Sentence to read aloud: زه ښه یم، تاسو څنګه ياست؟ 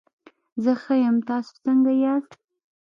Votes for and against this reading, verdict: 0, 2, rejected